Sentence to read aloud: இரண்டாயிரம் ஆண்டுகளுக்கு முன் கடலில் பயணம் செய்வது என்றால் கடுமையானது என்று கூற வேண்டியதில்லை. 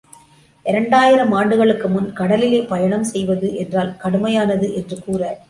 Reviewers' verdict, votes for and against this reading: rejected, 0, 2